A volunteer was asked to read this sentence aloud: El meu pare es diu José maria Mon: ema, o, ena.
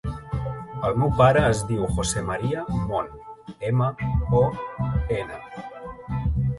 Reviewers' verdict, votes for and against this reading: rejected, 0, 4